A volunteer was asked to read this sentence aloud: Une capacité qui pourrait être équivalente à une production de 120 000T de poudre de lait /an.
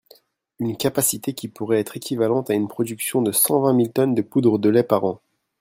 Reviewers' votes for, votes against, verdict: 0, 2, rejected